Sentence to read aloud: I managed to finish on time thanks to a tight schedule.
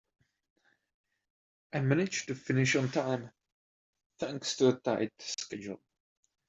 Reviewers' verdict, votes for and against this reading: accepted, 2, 0